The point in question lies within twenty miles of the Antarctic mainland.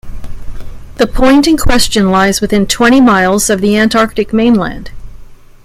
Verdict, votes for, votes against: rejected, 1, 2